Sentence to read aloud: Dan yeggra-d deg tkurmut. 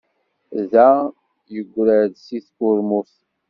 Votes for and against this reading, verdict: 2, 1, accepted